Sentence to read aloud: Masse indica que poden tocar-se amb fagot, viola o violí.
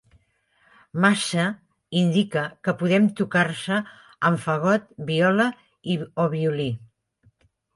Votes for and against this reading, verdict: 1, 2, rejected